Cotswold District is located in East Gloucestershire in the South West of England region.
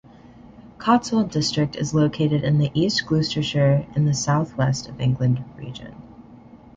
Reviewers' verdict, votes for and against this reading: rejected, 1, 2